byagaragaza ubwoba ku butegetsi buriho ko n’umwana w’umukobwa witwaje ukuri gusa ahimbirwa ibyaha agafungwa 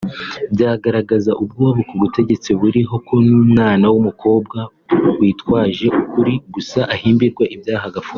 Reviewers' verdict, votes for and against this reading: accepted, 2, 0